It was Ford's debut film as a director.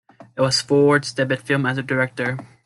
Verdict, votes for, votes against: accepted, 2, 1